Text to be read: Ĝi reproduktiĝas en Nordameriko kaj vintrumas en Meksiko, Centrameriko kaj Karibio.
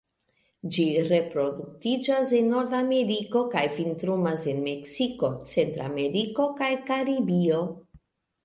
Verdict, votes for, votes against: rejected, 1, 2